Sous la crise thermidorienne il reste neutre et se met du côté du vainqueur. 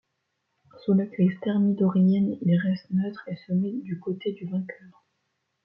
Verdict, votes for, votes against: rejected, 1, 2